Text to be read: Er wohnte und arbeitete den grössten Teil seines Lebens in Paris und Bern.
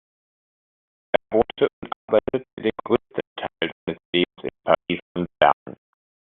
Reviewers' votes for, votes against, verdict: 0, 2, rejected